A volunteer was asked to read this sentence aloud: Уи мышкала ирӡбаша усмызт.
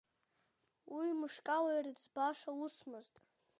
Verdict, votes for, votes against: accepted, 2, 0